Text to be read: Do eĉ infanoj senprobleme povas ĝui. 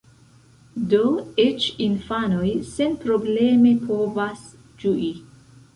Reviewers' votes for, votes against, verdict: 0, 2, rejected